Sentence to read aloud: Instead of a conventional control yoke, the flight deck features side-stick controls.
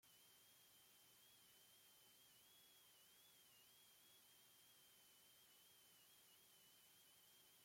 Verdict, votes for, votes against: rejected, 0, 2